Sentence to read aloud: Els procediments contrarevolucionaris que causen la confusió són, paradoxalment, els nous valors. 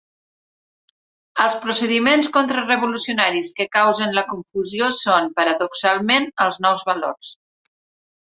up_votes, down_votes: 2, 0